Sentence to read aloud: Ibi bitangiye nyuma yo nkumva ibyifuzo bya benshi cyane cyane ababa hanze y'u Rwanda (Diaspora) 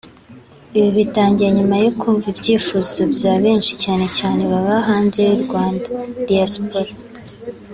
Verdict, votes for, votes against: accepted, 2, 0